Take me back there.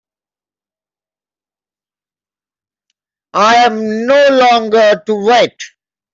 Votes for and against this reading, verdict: 0, 2, rejected